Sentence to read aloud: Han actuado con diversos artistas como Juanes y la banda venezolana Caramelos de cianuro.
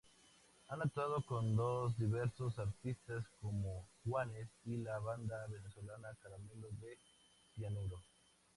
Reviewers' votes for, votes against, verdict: 2, 0, accepted